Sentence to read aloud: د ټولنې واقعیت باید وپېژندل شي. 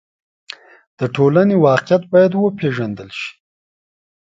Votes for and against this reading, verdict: 2, 0, accepted